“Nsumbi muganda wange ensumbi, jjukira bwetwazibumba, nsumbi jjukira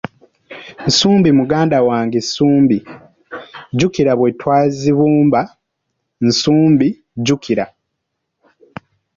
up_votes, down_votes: 2, 3